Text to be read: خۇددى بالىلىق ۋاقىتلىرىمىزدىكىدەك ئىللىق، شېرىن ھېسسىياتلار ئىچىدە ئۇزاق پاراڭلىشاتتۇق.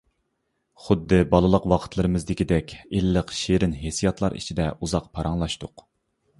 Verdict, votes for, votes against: rejected, 0, 2